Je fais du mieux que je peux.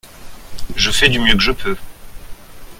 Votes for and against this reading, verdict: 2, 0, accepted